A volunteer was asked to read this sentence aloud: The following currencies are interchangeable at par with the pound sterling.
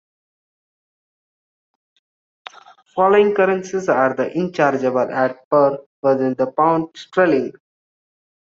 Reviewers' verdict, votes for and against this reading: rejected, 0, 2